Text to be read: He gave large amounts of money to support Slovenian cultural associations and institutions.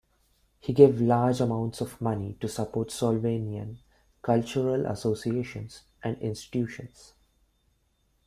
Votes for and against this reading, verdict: 1, 2, rejected